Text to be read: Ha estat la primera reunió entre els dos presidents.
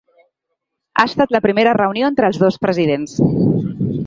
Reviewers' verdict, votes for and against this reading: accepted, 3, 0